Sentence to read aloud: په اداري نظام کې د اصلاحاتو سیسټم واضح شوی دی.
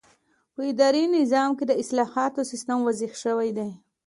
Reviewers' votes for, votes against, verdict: 2, 0, accepted